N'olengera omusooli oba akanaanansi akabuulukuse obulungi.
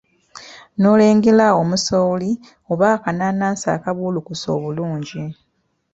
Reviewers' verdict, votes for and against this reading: accepted, 2, 0